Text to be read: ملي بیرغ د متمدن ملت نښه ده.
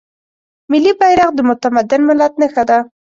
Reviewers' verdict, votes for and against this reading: accepted, 2, 0